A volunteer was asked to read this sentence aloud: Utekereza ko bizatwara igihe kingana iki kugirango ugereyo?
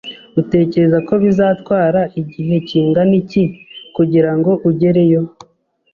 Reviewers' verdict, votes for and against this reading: accepted, 2, 0